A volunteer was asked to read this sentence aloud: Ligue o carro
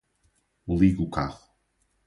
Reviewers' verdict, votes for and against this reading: rejected, 2, 2